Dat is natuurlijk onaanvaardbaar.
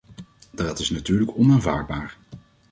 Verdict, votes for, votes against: rejected, 1, 2